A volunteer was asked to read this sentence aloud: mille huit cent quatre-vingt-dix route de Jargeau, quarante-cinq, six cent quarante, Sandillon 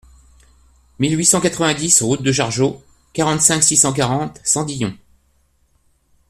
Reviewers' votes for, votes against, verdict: 2, 0, accepted